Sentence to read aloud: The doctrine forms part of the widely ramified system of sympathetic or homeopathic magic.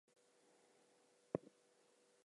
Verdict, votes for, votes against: rejected, 0, 2